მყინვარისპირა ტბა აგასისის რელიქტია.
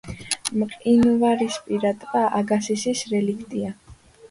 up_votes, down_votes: 2, 0